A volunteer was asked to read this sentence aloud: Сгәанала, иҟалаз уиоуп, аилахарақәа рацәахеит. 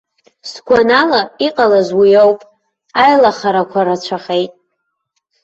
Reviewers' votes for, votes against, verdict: 2, 0, accepted